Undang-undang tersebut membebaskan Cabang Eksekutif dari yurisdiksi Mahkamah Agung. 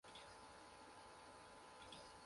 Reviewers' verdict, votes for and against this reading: rejected, 0, 2